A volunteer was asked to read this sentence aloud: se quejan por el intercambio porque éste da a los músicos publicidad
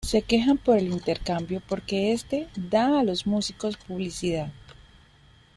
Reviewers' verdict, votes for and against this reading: accepted, 2, 0